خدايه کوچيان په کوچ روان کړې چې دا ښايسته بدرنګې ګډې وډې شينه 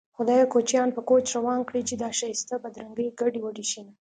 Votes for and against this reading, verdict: 2, 0, accepted